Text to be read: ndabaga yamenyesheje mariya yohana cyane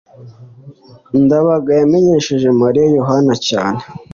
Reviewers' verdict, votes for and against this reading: accepted, 2, 0